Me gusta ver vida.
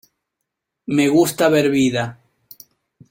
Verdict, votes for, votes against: accepted, 2, 0